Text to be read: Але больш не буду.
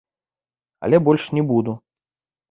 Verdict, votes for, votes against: accepted, 2, 0